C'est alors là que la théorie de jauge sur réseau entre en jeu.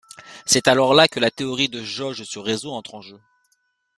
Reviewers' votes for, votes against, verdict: 2, 0, accepted